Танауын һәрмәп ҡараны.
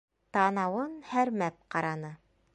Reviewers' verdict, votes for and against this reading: accepted, 3, 0